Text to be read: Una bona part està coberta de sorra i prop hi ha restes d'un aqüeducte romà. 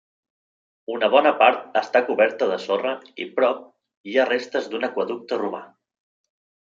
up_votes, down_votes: 3, 0